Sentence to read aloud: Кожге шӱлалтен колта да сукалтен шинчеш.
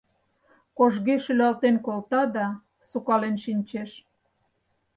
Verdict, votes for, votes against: rejected, 0, 4